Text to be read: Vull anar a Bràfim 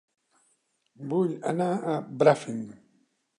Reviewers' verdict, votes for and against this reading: accepted, 2, 1